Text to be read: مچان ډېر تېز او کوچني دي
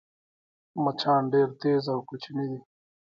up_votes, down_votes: 2, 1